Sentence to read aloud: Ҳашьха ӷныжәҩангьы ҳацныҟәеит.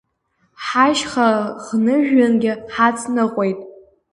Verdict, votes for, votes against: accepted, 2, 0